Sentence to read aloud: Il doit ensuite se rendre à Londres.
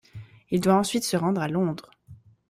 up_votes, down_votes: 1, 2